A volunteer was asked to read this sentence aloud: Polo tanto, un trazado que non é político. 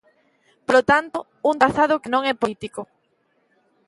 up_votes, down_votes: 2, 0